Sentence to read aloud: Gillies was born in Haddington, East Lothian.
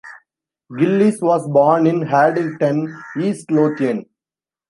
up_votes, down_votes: 0, 2